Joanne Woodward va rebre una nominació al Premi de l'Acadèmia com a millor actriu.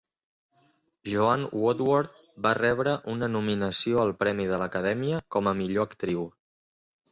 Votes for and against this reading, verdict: 2, 0, accepted